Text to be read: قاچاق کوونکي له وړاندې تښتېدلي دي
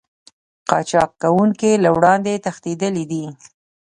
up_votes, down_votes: 2, 0